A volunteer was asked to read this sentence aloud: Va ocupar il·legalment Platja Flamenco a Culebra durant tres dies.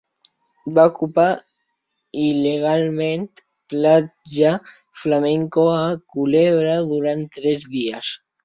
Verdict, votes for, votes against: rejected, 1, 2